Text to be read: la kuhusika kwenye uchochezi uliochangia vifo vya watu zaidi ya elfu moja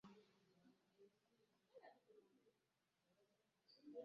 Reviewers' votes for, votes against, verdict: 0, 2, rejected